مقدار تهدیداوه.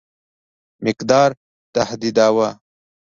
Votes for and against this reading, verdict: 2, 0, accepted